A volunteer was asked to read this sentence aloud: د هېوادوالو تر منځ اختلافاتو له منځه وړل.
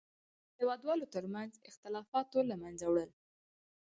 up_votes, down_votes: 0, 2